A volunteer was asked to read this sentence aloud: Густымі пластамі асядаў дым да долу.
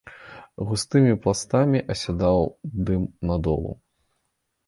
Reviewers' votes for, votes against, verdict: 1, 2, rejected